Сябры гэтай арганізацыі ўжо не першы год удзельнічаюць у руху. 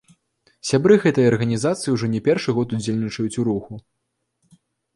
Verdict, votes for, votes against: accepted, 2, 0